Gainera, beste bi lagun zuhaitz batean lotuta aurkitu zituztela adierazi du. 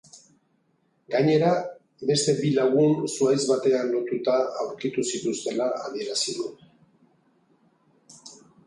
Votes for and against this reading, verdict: 2, 0, accepted